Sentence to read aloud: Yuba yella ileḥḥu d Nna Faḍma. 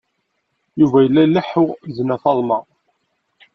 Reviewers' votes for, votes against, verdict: 2, 0, accepted